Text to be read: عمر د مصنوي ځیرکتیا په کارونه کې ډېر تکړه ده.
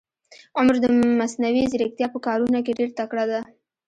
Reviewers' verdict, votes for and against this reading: rejected, 1, 2